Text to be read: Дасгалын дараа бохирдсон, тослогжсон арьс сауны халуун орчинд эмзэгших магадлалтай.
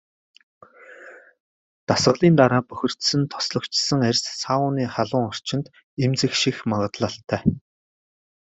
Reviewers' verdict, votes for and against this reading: rejected, 1, 2